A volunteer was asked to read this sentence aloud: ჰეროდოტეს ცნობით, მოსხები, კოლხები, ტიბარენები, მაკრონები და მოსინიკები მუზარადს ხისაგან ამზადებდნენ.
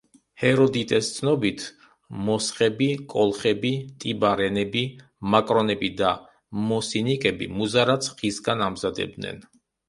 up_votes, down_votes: 0, 2